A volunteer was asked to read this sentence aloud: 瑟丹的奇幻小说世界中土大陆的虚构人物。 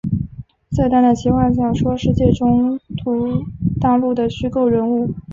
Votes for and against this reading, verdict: 3, 0, accepted